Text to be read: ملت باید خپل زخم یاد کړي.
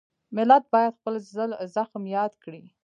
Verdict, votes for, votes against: rejected, 1, 2